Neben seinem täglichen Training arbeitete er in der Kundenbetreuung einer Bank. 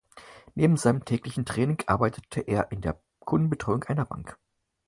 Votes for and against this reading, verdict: 4, 0, accepted